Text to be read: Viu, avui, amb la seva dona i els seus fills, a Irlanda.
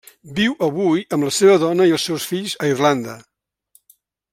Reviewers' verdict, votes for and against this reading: accepted, 3, 0